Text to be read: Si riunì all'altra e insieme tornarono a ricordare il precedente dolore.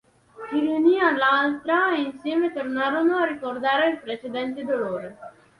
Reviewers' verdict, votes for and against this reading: accepted, 2, 0